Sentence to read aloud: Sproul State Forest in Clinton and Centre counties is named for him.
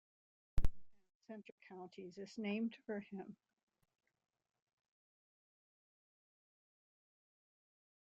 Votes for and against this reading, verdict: 0, 2, rejected